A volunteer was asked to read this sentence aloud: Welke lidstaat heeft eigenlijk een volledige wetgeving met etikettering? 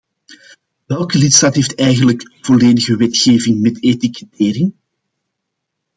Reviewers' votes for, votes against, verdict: 2, 0, accepted